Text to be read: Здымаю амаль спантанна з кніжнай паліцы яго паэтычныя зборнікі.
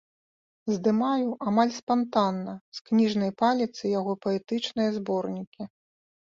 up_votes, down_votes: 0, 2